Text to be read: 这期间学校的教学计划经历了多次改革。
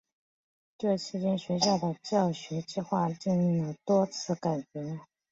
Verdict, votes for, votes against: accepted, 7, 0